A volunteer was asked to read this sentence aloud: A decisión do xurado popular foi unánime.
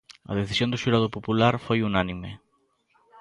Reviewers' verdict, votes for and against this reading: accepted, 2, 0